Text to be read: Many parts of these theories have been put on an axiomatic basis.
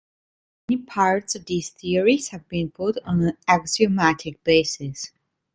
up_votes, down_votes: 1, 2